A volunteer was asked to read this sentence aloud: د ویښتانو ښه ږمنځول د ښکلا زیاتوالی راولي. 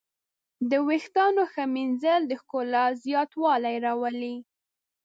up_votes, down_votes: 1, 2